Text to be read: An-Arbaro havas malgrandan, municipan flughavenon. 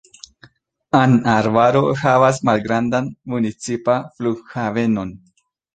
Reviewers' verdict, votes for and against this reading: rejected, 0, 2